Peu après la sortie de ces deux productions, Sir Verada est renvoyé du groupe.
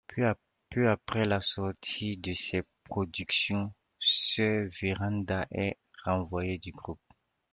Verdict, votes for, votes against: rejected, 0, 2